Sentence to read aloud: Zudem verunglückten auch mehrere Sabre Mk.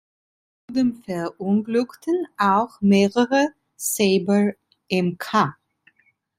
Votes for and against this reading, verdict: 0, 2, rejected